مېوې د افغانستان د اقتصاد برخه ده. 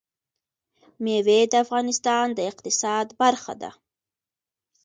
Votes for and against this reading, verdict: 2, 1, accepted